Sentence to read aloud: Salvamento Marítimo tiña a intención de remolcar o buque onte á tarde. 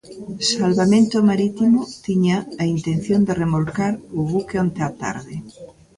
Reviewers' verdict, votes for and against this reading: rejected, 1, 2